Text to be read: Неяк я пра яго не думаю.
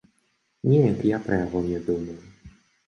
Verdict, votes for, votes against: rejected, 0, 2